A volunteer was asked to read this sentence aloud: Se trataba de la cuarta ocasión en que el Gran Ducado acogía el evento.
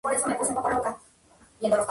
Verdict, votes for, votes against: rejected, 0, 2